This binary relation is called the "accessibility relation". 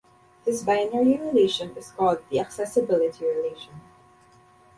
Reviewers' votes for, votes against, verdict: 2, 0, accepted